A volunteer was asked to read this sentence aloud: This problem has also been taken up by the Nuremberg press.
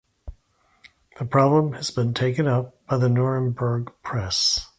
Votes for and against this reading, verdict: 0, 2, rejected